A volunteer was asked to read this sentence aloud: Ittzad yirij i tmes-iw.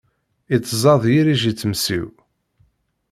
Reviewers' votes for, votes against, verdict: 0, 2, rejected